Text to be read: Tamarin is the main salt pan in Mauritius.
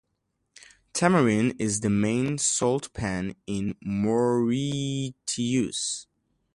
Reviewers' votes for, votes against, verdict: 0, 2, rejected